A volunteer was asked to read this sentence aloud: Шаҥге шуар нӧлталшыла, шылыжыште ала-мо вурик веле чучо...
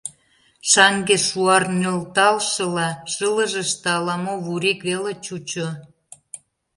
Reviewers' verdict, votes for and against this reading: accepted, 2, 1